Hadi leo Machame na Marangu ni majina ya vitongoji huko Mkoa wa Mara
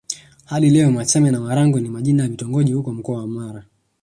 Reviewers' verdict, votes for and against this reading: rejected, 1, 2